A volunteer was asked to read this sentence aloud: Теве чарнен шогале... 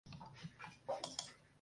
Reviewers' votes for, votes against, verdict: 0, 2, rejected